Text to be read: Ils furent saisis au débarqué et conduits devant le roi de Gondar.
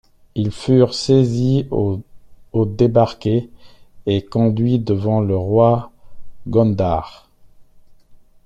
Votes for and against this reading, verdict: 1, 2, rejected